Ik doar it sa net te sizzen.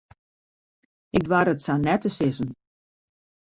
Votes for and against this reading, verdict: 2, 1, accepted